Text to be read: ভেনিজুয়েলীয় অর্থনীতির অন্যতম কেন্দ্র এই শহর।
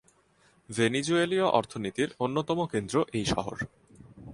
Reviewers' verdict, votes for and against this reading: accepted, 2, 0